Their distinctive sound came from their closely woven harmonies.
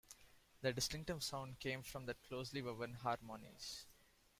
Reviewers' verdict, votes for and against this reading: accepted, 2, 0